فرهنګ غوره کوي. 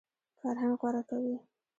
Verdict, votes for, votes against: rejected, 1, 2